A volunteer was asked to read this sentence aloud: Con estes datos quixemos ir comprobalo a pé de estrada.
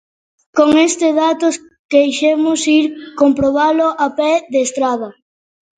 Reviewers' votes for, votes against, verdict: 0, 2, rejected